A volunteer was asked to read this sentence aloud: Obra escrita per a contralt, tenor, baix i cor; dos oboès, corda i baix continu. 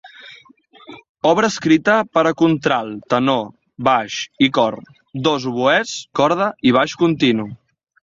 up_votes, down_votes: 2, 0